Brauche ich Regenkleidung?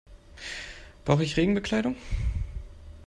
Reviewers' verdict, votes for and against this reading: rejected, 0, 2